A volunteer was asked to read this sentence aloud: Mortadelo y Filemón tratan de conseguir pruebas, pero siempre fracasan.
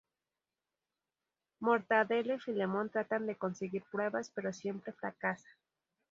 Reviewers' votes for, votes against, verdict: 2, 0, accepted